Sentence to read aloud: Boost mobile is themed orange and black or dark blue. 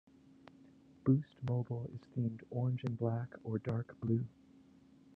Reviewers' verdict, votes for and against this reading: accepted, 2, 0